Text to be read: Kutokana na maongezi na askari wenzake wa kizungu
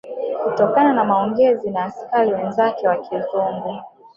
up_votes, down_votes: 1, 2